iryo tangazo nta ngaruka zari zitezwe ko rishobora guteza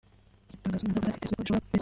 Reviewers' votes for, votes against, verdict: 0, 2, rejected